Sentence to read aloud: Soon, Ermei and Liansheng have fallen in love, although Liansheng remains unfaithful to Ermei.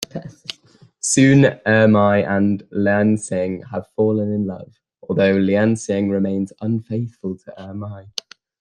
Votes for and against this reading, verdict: 2, 1, accepted